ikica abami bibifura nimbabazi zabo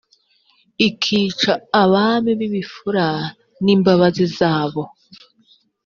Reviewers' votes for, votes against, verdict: 4, 0, accepted